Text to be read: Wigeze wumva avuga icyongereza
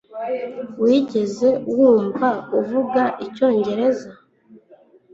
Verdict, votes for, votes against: accepted, 2, 0